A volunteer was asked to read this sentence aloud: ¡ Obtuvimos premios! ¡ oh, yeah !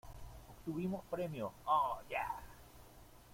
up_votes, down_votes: 1, 2